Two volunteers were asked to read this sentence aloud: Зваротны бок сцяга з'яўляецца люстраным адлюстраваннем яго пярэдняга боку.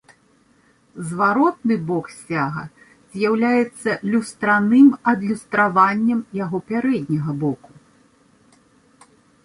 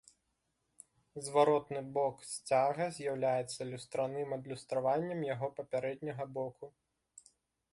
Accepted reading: first